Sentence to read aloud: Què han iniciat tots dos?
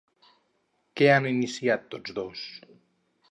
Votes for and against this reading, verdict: 2, 2, rejected